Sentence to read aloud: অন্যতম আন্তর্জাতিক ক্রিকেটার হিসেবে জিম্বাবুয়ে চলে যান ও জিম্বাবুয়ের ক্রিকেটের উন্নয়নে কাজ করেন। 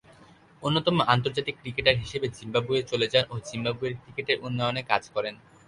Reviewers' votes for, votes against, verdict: 4, 0, accepted